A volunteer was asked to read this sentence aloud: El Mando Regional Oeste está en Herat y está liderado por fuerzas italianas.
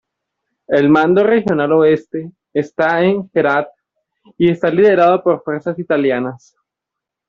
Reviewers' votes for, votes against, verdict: 2, 0, accepted